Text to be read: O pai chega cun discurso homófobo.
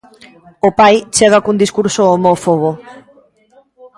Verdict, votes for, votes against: accepted, 2, 0